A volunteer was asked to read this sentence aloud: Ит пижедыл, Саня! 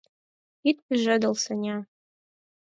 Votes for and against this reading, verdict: 4, 0, accepted